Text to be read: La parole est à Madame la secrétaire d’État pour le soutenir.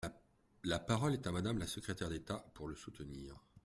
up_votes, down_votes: 1, 2